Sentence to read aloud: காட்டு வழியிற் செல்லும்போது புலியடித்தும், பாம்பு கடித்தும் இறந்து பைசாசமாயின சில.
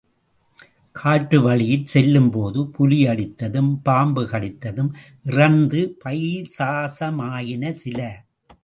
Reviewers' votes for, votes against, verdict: 2, 0, accepted